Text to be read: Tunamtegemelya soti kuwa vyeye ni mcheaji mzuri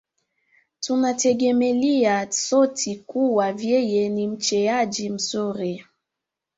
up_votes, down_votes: 2, 1